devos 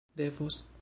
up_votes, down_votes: 0, 2